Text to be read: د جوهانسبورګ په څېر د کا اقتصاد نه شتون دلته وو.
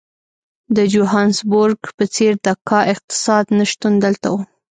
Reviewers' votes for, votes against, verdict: 1, 2, rejected